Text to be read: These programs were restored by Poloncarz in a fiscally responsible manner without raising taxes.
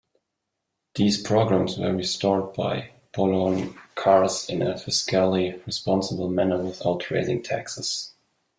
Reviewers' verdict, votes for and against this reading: accepted, 3, 0